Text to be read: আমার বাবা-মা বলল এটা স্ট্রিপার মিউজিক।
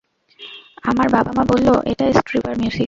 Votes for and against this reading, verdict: 0, 2, rejected